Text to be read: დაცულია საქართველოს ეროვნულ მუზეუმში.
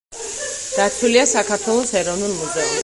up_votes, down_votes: 2, 4